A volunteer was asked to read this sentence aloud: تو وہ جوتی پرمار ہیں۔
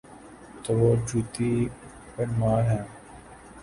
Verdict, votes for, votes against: rejected, 0, 2